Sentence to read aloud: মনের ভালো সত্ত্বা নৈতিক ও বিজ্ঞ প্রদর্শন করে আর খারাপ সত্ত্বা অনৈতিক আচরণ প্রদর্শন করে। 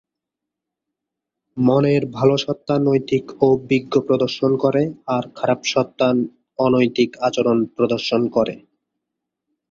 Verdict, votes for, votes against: accepted, 2, 0